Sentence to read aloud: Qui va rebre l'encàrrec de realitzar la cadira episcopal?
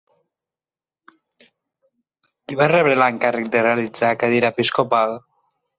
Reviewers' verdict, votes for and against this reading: rejected, 0, 4